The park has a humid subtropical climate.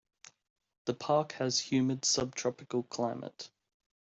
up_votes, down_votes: 0, 2